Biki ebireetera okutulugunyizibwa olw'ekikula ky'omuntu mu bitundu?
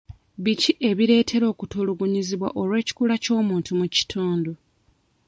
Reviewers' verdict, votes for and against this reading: rejected, 0, 2